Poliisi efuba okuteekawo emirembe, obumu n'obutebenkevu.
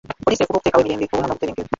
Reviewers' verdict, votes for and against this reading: rejected, 1, 3